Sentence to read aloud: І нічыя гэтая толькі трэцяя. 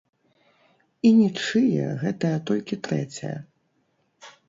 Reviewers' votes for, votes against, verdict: 1, 2, rejected